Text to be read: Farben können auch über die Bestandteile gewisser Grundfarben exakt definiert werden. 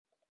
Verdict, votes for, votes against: rejected, 0, 2